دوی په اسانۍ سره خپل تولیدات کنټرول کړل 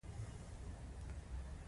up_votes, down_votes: 2, 1